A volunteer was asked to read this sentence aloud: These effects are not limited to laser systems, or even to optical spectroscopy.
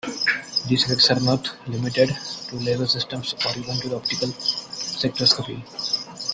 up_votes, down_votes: 0, 2